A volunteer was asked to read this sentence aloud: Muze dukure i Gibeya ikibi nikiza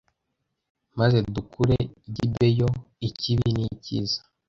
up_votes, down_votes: 0, 2